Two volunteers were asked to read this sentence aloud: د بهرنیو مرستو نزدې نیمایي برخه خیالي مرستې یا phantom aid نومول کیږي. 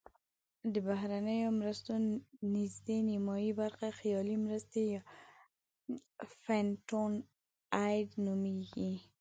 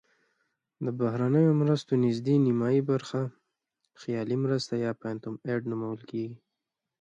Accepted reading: second